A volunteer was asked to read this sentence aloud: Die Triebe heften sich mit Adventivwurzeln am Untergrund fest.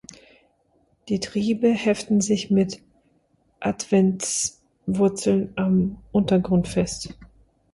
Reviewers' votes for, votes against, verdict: 0, 2, rejected